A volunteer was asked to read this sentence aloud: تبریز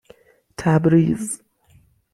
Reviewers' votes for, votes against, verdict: 6, 0, accepted